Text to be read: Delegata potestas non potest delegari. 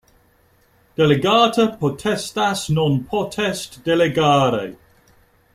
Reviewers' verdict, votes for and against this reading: accepted, 2, 0